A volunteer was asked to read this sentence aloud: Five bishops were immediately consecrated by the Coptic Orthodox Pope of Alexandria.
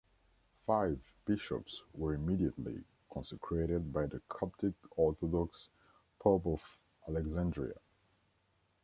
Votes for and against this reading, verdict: 2, 0, accepted